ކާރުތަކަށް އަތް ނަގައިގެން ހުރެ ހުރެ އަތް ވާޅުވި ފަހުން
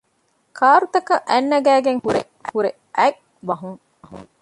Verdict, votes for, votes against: rejected, 0, 2